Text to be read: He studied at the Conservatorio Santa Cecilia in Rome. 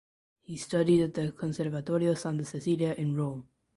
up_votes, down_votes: 2, 0